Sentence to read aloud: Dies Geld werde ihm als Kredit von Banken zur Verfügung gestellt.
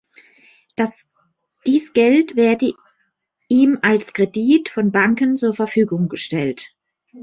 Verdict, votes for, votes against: rejected, 1, 2